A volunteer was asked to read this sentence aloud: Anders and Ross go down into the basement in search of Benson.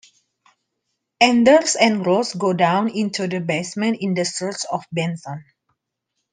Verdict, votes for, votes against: rejected, 1, 2